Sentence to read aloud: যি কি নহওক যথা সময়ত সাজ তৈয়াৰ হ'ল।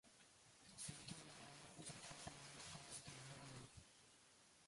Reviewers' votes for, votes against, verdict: 0, 2, rejected